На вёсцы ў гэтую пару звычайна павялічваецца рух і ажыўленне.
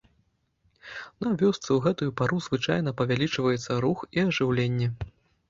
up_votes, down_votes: 3, 0